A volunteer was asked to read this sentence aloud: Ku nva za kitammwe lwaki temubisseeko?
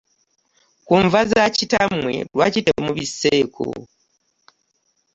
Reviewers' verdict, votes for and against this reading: accepted, 2, 0